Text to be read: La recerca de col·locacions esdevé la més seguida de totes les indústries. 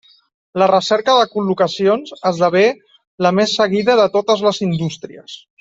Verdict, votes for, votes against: accepted, 2, 0